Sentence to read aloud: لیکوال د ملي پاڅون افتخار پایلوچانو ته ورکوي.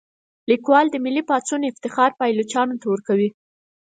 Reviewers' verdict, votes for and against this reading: accepted, 4, 2